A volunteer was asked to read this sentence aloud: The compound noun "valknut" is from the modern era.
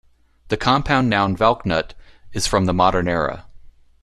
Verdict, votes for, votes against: accepted, 2, 0